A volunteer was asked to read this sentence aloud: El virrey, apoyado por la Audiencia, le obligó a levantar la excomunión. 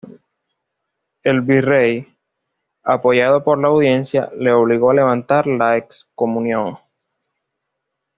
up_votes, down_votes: 2, 0